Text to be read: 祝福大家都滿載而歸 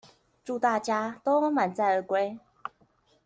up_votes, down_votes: 1, 2